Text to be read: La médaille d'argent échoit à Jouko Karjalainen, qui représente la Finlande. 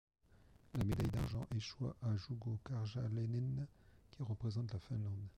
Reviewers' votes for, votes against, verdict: 1, 2, rejected